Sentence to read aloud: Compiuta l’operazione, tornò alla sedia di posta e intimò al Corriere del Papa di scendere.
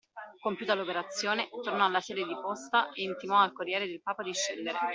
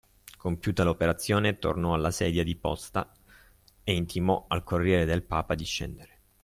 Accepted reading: second